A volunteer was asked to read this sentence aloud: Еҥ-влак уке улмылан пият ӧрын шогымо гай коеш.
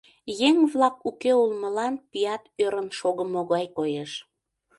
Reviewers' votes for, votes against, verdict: 2, 0, accepted